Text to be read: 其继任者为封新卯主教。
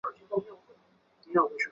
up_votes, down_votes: 1, 2